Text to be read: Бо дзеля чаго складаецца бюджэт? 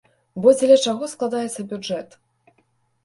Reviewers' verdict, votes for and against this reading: accepted, 2, 0